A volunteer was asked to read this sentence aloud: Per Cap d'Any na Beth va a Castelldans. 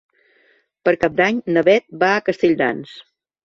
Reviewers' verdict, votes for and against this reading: accepted, 2, 0